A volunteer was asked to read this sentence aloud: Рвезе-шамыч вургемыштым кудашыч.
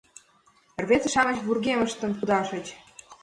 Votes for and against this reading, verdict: 1, 2, rejected